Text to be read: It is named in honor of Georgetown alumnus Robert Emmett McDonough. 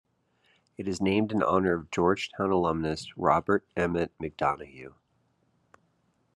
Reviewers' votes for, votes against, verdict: 1, 2, rejected